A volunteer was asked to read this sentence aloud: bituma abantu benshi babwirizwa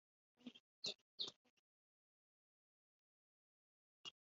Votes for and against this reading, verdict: 0, 3, rejected